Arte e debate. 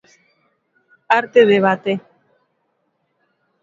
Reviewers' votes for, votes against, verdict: 2, 0, accepted